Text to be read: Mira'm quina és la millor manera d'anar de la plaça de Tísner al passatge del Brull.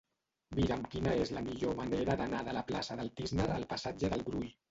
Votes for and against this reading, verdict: 0, 2, rejected